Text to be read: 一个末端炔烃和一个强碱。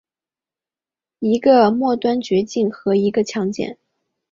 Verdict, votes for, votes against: accepted, 3, 1